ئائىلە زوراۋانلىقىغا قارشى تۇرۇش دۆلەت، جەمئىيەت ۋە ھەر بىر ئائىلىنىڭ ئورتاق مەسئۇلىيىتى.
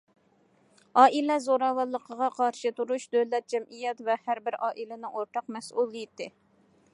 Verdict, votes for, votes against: accepted, 2, 0